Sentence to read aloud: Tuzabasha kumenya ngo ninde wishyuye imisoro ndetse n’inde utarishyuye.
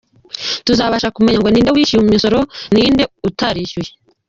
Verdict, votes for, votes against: rejected, 0, 2